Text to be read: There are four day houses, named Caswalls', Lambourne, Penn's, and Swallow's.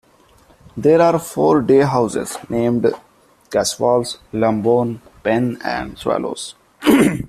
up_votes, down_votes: 1, 2